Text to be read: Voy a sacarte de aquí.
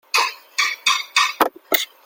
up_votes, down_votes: 0, 2